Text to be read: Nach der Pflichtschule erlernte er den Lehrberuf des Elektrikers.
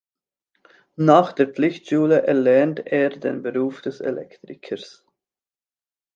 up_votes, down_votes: 0, 2